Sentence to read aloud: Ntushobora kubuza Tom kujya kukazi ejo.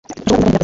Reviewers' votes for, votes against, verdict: 1, 2, rejected